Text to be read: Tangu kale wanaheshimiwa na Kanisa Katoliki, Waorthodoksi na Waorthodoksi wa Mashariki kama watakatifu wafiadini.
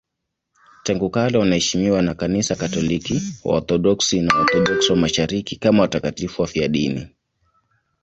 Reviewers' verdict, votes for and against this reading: accepted, 2, 1